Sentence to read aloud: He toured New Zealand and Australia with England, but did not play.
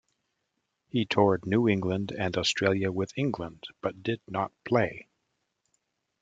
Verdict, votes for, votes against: rejected, 0, 2